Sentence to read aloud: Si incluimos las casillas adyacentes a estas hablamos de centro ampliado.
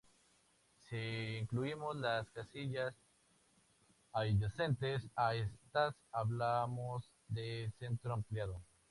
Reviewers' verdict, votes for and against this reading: accepted, 2, 0